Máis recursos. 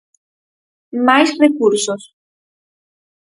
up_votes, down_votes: 4, 0